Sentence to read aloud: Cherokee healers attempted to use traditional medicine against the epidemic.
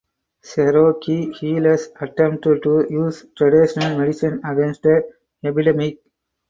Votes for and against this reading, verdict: 0, 2, rejected